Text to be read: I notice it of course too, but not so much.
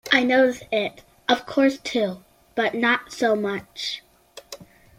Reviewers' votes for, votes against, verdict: 2, 0, accepted